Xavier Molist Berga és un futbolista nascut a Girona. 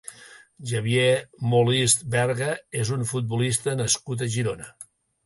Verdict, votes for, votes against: accepted, 2, 0